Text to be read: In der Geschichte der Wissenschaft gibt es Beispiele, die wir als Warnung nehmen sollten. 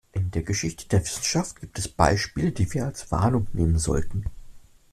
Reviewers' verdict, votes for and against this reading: accepted, 2, 0